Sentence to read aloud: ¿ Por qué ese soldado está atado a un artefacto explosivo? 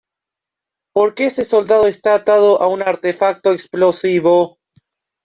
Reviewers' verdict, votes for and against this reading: rejected, 1, 2